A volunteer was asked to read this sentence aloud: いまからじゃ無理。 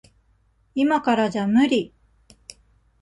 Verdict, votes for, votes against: accepted, 2, 0